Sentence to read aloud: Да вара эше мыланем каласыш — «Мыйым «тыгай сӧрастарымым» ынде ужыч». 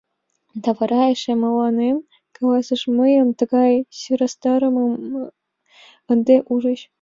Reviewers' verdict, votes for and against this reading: accepted, 2, 1